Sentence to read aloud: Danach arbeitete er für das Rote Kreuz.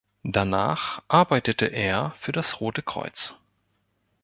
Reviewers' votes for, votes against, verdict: 3, 0, accepted